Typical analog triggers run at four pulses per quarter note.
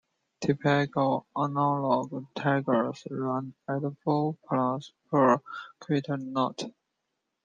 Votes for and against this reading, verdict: 0, 2, rejected